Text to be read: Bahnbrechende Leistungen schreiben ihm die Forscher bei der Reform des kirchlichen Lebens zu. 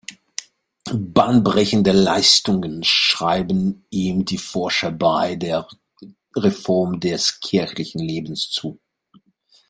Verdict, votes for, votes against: rejected, 1, 2